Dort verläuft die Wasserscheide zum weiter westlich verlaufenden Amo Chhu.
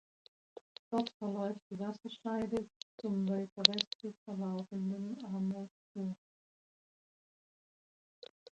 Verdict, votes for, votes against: rejected, 0, 2